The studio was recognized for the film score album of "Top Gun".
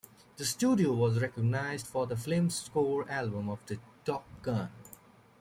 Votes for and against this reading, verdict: 1, 2, rejected